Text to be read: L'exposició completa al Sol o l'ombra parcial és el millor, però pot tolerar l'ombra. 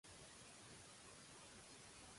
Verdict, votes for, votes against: rejected, 1, 2